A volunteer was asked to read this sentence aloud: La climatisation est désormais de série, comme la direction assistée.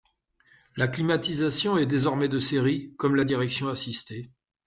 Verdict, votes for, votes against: accepted, 2, 0